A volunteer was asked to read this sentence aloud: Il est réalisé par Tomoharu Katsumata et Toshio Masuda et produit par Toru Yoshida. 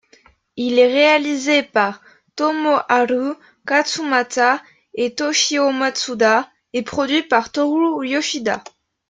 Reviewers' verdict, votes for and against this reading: accepted, 2, 0